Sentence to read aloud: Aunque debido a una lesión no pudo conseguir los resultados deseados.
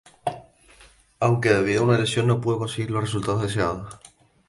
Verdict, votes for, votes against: accepted, 4, 0